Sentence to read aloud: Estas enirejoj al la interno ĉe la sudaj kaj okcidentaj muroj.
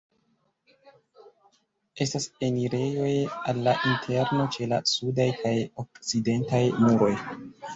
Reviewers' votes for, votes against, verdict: 0, 2, rejected